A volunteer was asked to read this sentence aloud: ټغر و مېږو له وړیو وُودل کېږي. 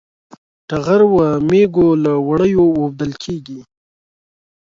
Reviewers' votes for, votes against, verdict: 2, 0, accepted